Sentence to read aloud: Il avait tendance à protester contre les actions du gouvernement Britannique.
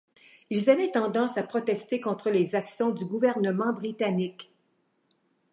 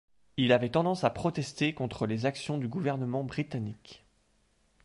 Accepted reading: second